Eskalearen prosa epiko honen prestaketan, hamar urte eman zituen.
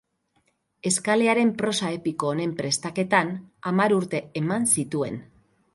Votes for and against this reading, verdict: 4, 0, accepted